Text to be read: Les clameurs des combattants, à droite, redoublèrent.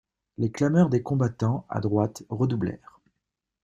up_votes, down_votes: 2, 0